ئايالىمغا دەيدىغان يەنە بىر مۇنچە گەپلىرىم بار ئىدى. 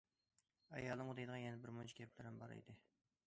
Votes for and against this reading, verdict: 2, 0, accepted